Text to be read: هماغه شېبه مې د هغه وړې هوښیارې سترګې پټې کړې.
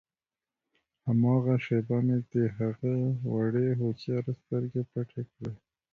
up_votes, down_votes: 2, 0